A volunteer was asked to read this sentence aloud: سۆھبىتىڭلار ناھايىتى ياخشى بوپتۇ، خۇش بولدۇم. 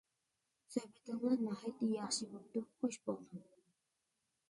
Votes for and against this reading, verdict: 1, 2, rejected